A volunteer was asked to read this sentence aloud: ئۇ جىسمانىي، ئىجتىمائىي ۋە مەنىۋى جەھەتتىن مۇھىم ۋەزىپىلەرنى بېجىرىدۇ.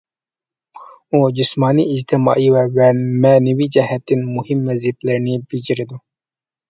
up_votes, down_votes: 0, 2